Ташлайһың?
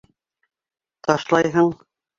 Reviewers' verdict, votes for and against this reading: accepted, 2, 0